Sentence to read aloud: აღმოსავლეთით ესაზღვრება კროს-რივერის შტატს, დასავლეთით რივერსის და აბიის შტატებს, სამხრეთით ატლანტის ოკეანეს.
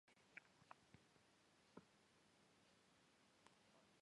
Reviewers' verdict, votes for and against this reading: rejected, 0, 2